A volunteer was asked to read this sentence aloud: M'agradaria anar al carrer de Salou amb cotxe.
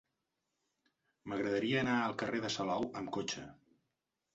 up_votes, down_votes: 3, 0